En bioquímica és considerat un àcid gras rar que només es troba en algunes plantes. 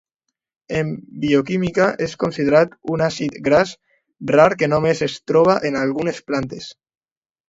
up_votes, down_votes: 2, 0